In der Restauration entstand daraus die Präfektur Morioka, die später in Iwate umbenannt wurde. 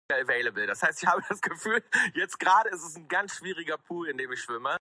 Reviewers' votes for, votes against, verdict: 0, 2, rejected